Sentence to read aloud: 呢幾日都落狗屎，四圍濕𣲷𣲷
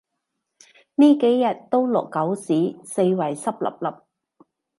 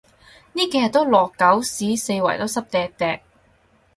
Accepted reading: first